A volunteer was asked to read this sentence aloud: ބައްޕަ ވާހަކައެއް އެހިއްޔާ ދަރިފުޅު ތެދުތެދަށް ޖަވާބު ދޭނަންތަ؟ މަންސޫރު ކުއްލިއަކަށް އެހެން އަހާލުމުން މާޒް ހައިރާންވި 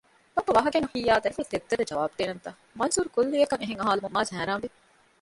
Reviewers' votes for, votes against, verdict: 1, 2, rejected